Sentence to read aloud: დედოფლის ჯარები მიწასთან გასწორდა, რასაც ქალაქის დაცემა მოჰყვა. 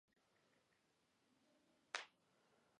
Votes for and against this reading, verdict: 1, 2, rejected